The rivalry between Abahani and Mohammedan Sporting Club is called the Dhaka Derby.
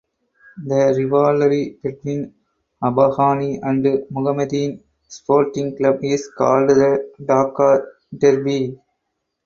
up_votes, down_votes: 0, 4